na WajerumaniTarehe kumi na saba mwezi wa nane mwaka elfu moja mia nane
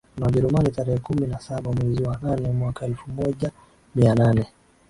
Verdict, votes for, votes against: rejected, 0, 2